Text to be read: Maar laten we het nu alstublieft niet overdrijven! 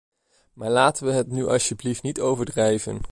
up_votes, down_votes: 2, 1